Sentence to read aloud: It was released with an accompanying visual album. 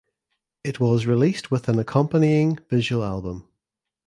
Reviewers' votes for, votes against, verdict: 2, 0, accepted